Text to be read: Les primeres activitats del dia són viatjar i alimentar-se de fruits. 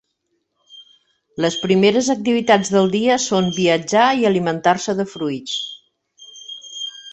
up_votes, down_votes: 4, 0